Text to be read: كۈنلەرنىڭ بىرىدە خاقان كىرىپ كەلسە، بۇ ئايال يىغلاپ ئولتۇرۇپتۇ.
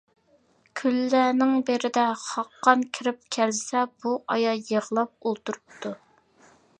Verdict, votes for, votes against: accepted, 2, 0